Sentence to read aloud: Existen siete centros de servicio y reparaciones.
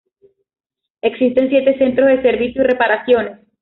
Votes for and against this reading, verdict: 2, 0, accepted